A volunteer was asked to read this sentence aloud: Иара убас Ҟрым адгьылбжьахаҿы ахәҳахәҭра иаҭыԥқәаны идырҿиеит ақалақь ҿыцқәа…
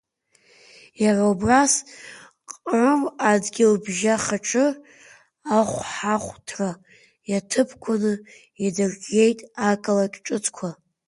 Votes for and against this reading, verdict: 2, 0, accepted